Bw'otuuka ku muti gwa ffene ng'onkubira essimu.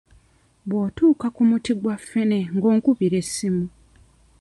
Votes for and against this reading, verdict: 2, 0, accepted